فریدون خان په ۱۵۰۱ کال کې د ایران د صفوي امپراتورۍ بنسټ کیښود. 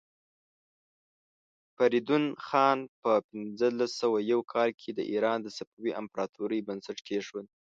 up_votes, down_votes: 0, 2